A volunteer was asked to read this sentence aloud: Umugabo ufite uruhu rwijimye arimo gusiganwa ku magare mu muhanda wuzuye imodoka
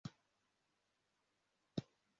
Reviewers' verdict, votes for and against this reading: rejected, 0, 2